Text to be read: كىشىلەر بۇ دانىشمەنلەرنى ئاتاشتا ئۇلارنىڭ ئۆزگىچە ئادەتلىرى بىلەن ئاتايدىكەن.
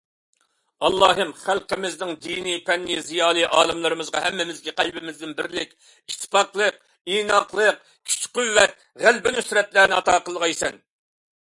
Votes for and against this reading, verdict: 0, 2, rejected